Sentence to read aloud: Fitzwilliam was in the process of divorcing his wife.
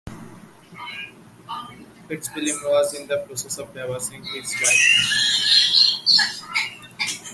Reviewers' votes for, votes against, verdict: 1, 2, rejected